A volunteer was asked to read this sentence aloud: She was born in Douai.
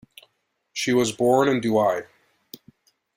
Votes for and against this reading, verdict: 2, 0, accepted